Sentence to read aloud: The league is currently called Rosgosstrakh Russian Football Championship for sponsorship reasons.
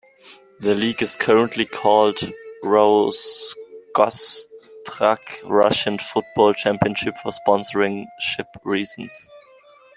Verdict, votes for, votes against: rejected, 1, 2